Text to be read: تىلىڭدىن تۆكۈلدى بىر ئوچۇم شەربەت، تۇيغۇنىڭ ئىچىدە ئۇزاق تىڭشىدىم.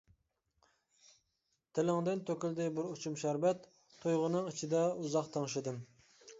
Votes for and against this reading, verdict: 2, 0, accepted